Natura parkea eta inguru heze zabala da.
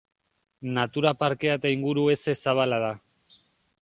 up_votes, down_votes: 2, 0